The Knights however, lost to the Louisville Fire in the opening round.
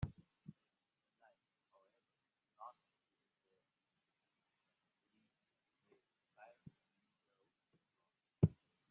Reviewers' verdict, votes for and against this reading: rejected, 0, 2